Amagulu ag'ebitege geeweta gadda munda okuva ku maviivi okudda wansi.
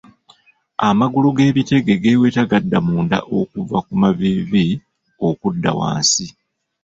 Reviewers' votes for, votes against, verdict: 1, 2, rejected